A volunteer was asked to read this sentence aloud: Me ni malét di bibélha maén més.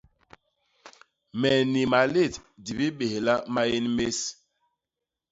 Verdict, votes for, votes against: accepted, 2, 0